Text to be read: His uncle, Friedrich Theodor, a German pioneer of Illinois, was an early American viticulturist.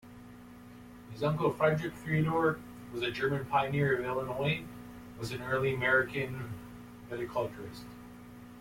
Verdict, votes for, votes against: rejected, 1, 2